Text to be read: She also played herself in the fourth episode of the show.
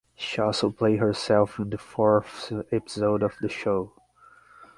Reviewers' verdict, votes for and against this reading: rejected, 3, 3